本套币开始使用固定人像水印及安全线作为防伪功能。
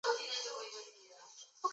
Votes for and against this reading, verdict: 0, 2, rejected